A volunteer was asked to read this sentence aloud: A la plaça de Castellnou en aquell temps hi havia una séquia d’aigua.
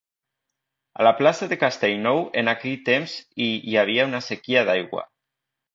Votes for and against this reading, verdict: 0, 2, rejected